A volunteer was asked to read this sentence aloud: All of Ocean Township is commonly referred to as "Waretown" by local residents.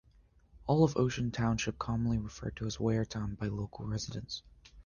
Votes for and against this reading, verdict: 2, 1, accepted